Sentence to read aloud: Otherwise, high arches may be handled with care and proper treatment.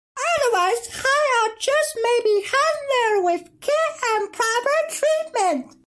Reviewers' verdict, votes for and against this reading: accepted, 2, 1